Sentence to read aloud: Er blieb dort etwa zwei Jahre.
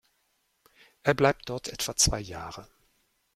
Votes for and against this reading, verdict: 0, 2, rejected